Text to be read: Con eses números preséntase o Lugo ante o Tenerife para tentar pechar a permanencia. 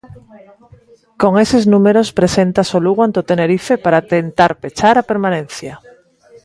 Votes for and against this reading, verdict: 2, 0, accepted